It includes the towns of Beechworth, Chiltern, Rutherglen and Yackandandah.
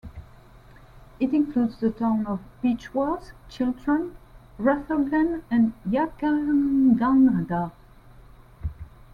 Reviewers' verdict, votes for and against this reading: rejected, 1, 2